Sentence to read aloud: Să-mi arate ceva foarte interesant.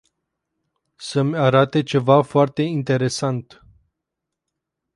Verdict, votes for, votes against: rejected, 2, 2